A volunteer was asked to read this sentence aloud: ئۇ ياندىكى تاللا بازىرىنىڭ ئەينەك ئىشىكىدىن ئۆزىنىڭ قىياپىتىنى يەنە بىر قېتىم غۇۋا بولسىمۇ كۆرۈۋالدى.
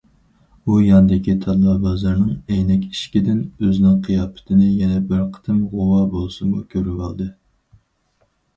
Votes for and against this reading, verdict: 4, 2, accepted